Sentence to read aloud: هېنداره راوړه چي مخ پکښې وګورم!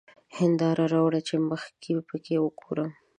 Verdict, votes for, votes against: rejected, 1, 2